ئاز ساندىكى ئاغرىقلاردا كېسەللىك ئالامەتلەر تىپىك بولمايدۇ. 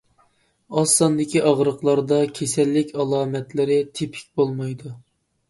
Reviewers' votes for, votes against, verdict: 0, 2, rejected